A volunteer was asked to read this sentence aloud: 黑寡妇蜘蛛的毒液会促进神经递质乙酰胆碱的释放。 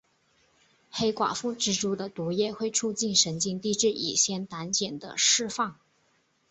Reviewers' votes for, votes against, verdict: 3, 0, accepted